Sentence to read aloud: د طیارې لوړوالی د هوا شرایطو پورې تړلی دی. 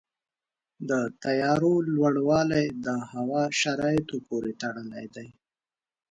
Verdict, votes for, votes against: rejected, 1, 2